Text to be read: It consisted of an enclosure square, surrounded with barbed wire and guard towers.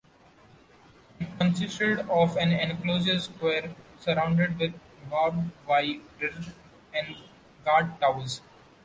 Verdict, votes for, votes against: rejected, 0, 2